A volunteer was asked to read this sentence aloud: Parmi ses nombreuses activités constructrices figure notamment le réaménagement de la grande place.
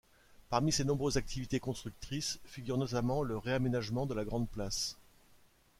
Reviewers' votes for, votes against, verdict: 2, 0, accepted